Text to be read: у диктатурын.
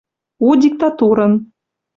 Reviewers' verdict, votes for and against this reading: accepted, 2, 0